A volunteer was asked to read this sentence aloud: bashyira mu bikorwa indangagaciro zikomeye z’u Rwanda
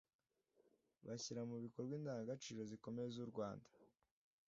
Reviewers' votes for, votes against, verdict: 2, 0, accepted